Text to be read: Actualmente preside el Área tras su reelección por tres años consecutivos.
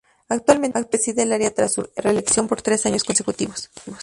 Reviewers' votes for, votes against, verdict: 2, 0, accepted